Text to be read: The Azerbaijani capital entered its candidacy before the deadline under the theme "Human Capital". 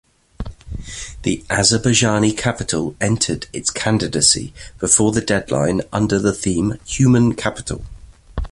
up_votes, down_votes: 2, 0